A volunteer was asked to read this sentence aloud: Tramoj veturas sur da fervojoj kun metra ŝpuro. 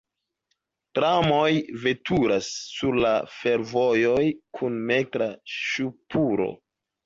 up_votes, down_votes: 1, 2